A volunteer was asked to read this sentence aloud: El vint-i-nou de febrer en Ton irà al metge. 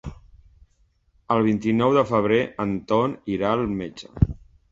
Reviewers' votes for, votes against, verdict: 2, 0, accepted